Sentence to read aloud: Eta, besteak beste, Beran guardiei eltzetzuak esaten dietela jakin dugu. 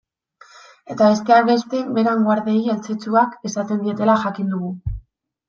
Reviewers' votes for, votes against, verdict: 2, 0, accepted